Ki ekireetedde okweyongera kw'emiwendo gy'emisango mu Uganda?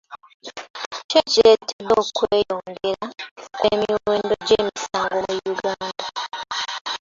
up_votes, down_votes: 0, 2